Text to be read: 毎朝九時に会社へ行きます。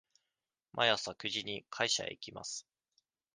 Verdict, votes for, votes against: accepted, 2, 0